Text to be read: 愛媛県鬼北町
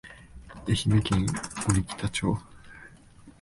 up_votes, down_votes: 9, 1